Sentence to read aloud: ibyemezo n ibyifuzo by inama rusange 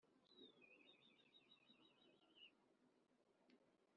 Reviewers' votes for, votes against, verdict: 0, 2, rejected